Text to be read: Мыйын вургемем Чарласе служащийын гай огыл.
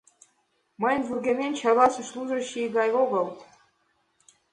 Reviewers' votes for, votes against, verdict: 1, 2, rejected